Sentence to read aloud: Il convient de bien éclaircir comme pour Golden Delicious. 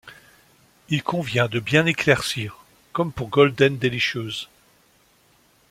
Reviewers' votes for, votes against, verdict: 2, 0, accepted